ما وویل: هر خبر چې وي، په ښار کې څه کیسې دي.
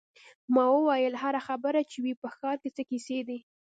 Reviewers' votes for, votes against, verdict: 2, 1, accepted